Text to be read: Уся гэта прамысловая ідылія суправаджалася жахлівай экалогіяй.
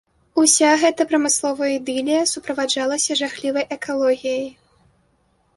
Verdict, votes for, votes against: accepted, 2, 0